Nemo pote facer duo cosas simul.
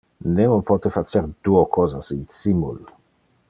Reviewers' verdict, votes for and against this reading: rejected, 0, 2